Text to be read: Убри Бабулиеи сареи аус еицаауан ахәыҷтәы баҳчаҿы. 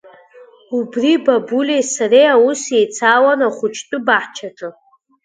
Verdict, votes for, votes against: rejected, 1, 2